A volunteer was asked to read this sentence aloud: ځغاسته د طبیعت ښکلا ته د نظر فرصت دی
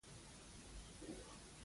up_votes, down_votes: 1, 2